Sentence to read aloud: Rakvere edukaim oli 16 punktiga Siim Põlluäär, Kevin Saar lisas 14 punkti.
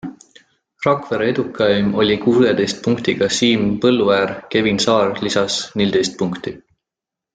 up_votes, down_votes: 0, 2